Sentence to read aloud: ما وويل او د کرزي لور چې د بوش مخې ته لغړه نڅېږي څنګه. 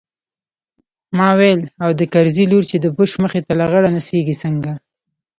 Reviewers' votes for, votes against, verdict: 0, 2, rejected